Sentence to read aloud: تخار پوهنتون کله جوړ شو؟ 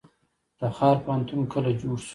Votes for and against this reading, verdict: 1, 2, rejected